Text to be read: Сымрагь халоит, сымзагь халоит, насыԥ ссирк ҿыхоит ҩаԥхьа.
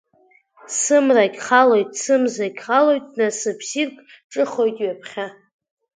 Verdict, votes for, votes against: accepted, 2, 1